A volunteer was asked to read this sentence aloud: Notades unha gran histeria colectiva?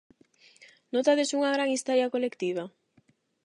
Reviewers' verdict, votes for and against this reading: accepted, 8, 0